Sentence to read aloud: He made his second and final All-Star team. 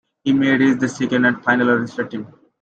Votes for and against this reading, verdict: 2, 1, accepted